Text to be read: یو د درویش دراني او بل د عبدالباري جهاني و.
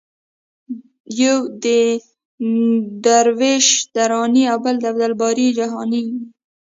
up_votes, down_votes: 0, 2